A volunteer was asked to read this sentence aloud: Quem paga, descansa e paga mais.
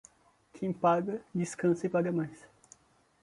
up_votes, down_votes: 2, 0